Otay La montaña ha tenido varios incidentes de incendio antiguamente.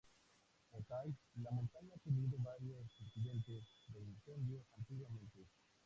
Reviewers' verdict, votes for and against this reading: rejected, 0, 2